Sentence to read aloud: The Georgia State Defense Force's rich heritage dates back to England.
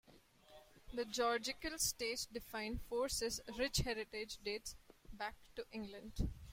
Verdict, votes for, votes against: rejected, 0, 2